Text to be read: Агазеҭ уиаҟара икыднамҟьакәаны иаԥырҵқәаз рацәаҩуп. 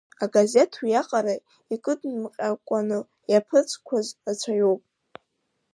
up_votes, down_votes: 2, 4